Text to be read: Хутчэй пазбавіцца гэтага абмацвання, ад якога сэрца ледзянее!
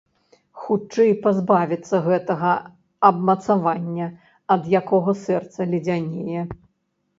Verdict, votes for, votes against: rejected, 0, 2